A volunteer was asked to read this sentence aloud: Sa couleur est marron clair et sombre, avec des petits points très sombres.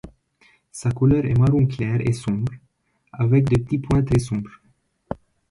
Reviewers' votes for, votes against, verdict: 2, 1, accepted